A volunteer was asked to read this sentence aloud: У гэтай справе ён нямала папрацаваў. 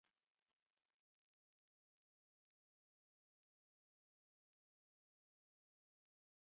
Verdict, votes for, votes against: rejected, 0, 3